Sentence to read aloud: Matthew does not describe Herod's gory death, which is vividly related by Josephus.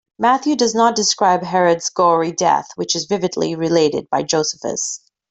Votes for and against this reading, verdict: 2, 0, accepted